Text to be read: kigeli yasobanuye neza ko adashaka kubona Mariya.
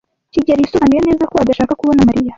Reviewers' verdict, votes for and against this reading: rejected, 1, 2